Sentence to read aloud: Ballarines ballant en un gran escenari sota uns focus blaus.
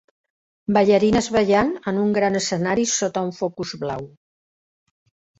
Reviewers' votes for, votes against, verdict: 1, 3, rejected